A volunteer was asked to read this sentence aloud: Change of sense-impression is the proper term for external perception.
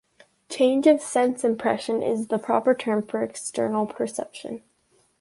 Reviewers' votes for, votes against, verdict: 2, 0, accepted